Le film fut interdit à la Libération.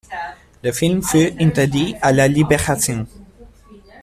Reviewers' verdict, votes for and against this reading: accepted, 2, 0